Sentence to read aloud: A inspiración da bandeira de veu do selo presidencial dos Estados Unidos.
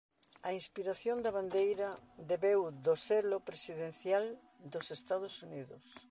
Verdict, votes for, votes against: rejected, 1, 2